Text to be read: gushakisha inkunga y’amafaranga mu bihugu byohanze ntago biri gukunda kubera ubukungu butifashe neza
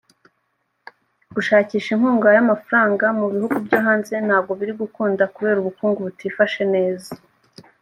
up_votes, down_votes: 3, 0